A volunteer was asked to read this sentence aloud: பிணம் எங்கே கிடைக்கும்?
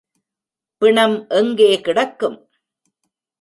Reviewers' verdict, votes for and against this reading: rejected, 0, 2